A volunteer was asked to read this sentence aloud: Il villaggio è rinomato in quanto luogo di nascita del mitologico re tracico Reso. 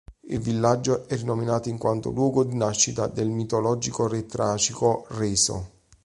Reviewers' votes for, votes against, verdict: 1, 2, rejected